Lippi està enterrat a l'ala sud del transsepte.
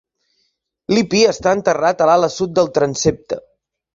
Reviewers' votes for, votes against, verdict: 2, 0, accepted